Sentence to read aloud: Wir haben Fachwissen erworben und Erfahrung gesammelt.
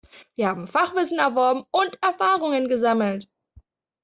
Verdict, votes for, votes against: rejected, 0, 2